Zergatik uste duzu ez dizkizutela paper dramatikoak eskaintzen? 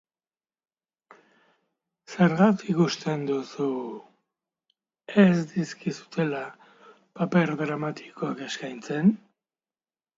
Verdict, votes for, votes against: rejected, 1, 2